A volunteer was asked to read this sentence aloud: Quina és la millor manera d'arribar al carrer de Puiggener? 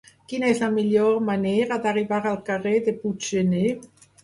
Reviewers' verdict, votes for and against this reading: accepted, 4, 0